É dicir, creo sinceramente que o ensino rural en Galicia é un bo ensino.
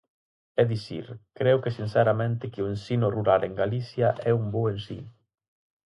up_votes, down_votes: 0, 4